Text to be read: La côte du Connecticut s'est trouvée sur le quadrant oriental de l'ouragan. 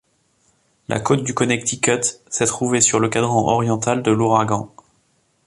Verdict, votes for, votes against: accepted, 2, 0